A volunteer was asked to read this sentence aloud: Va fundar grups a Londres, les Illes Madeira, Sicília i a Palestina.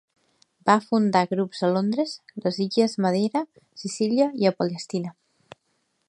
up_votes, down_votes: 2, 0